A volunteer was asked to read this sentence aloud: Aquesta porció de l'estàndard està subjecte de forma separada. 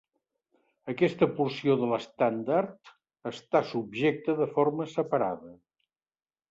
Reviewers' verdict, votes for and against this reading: accepted, 3, 0